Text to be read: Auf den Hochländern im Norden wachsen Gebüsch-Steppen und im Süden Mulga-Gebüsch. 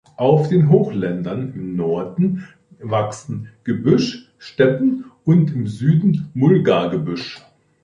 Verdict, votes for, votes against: accepted, 2, 0